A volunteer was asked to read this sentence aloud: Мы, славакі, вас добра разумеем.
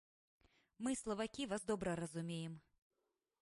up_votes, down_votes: 2, 1